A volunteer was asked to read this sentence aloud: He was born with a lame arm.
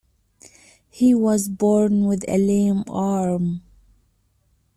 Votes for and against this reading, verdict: 2, 1, accepted